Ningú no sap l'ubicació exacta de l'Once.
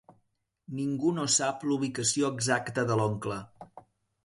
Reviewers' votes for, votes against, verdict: 1, 2, rejected